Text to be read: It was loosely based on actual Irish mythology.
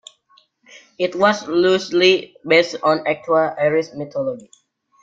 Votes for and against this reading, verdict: 2, 1, accepted